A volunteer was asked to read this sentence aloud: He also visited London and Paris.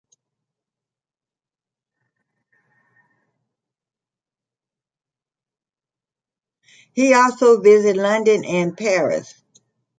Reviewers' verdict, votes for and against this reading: rejected, 0, 2